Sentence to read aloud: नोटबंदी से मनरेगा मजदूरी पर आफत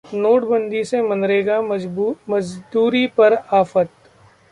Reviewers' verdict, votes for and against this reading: rejected, 0, 2